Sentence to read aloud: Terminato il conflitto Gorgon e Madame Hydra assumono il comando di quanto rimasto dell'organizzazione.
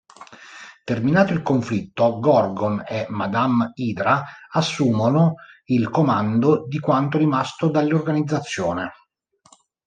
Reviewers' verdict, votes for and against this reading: rejected, 1, 2